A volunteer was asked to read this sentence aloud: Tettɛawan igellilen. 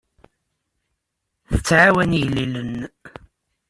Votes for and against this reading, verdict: 2, 0, accepted